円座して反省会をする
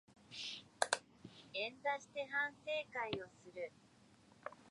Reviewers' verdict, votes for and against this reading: accepted, 2, 0